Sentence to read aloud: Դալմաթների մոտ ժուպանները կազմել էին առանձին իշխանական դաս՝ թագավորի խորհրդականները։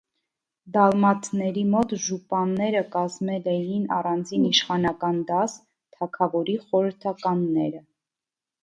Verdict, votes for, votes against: accepted, 2, 0